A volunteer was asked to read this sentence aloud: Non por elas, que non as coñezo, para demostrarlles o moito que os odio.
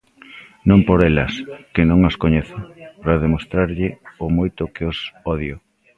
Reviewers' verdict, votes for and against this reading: rejected, 1, 2